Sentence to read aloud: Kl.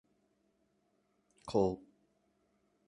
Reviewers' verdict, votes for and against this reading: rejected, 0, 2